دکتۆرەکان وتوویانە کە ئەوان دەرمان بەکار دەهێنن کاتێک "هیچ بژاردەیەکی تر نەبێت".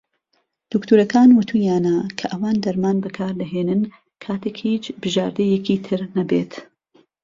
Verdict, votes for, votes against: accepted, 2, 0